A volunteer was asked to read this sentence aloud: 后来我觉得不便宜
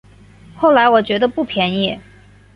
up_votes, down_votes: 3, 0